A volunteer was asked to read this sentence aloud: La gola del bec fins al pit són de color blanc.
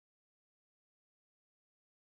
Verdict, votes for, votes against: rejected, 1, 2